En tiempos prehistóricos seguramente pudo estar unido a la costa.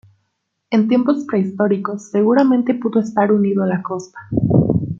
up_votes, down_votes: 2, 0